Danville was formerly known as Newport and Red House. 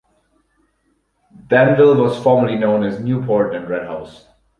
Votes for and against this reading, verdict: 4, 0, accepted